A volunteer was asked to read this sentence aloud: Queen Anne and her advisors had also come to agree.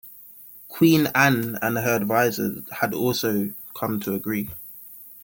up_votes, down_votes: 2, 0